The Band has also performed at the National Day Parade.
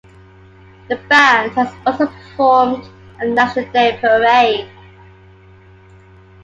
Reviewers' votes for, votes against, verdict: 2, 0, accepted